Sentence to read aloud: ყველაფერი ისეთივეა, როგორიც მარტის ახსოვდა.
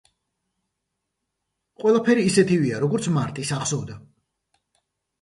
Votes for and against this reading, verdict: 2, 0, accepted